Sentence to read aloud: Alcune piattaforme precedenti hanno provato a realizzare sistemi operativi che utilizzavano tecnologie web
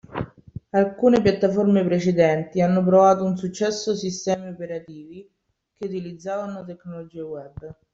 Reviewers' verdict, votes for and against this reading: rejected, 1, 2